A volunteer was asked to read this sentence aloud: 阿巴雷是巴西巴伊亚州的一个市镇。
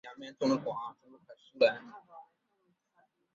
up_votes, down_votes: 5, 6